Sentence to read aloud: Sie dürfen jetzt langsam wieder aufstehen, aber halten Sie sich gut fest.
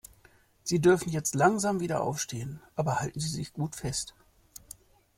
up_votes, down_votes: 2, 0